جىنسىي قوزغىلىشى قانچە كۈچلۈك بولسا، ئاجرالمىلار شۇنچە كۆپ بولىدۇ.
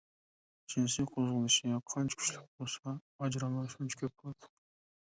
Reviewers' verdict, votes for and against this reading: rejected, 1, 2